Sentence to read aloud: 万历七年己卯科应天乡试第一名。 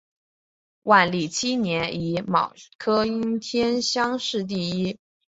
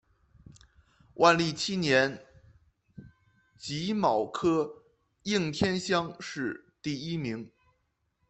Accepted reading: second